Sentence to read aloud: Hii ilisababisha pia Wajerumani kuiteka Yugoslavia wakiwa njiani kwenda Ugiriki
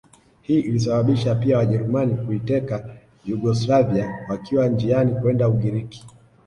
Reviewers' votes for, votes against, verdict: 3, 0, accepted